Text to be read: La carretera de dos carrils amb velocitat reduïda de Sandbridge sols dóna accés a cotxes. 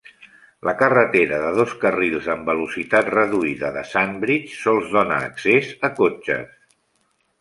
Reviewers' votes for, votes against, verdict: 3, 0, accepted